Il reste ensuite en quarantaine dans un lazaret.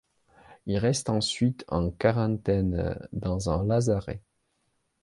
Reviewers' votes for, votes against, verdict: 2, 0, accepted